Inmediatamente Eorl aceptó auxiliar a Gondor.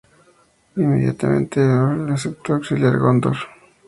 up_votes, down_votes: 0, 2